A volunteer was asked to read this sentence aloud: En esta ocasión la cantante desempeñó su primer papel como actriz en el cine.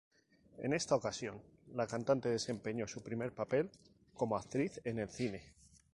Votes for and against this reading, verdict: 2, 2, rejected